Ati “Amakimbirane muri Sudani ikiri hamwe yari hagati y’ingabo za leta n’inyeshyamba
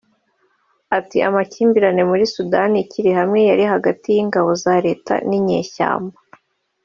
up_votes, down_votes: 2, 0